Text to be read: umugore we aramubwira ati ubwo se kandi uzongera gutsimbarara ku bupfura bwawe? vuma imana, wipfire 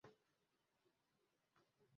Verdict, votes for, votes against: rejected, 0, 2